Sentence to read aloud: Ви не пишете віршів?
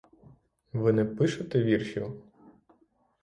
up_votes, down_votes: 6, 0